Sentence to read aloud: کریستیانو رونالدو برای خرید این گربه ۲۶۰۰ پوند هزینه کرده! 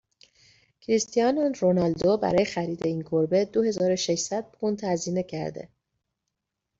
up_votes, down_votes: 0, 2